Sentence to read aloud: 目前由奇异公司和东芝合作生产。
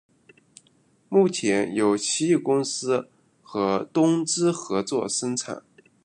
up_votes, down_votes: 2, 0